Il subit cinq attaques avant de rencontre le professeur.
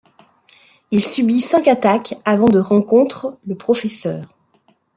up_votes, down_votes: 2, 0